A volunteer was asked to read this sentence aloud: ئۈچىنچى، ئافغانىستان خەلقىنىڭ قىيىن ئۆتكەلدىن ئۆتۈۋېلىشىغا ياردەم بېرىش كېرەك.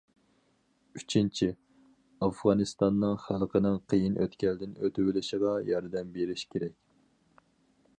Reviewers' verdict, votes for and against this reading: rejected, 0, 4